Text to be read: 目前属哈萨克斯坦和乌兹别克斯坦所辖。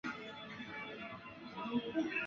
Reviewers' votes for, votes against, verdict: 0, 2, rejected